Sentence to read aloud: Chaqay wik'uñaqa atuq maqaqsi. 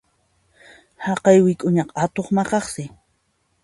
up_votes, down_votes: 3, 1